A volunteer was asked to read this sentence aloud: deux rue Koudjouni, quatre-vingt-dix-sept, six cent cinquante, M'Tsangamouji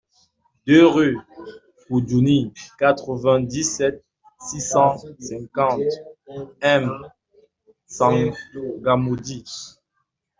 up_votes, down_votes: 2, 0